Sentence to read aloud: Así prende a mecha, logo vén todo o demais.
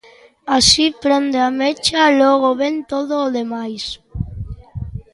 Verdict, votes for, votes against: accepted, 2, 0